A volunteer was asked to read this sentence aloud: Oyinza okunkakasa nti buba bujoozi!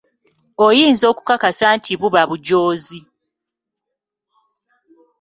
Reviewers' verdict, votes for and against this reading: rejected, 0, 2